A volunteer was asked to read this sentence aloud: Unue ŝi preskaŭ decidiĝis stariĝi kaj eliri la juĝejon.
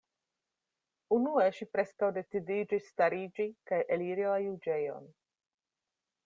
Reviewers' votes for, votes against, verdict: 2, 0, accepted